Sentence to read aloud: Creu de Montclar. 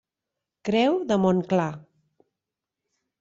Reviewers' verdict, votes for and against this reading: accepted, 2, 0